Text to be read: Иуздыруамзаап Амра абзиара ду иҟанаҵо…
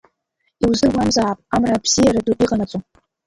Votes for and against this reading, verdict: 0, 2, rejected